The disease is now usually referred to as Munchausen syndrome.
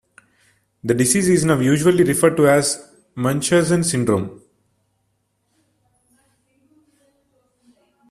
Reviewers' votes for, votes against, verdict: 2, 1, accepted